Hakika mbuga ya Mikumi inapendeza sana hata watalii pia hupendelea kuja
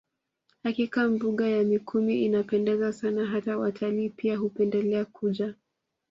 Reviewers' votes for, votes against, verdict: 2, 0, accepted